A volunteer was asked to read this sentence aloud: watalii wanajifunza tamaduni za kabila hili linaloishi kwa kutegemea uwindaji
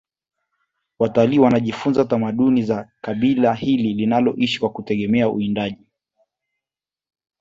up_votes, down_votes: 2, 0